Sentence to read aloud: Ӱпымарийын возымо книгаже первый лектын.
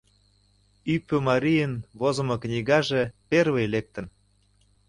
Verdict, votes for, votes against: accepted, 2, 0